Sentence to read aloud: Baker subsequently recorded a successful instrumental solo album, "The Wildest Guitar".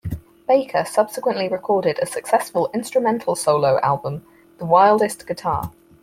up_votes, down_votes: 4, 0